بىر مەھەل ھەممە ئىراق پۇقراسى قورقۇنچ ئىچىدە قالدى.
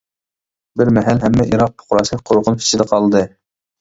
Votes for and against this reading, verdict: 2, 1, accepted